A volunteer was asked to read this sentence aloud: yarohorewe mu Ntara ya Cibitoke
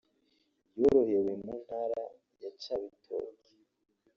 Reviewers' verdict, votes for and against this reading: accepted, 2, 1